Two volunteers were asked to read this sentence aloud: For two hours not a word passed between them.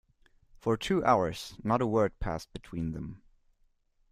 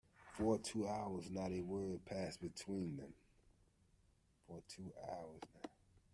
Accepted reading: first